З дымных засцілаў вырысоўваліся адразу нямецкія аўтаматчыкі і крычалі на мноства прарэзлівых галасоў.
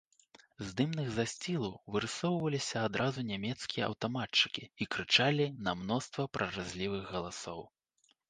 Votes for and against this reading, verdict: 1, 2, rejected